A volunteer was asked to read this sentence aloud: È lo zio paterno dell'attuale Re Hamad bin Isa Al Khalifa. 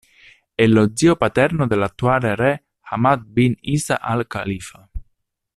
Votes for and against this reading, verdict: 2, 0, accepted